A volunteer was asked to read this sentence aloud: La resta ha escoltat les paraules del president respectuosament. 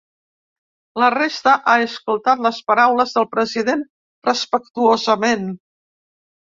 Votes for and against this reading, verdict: 3, 0, accepted